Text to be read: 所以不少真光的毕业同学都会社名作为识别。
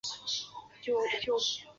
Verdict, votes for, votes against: rejected, 0, 3